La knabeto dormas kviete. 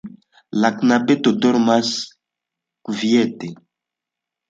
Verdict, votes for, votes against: accepted, 2, 0